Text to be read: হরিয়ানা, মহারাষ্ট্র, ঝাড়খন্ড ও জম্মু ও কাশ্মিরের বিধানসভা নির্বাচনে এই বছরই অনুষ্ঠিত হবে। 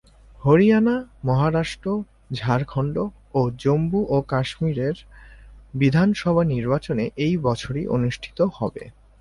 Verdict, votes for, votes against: accepted, 6, 0